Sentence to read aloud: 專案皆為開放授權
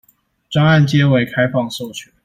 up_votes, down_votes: 2, 0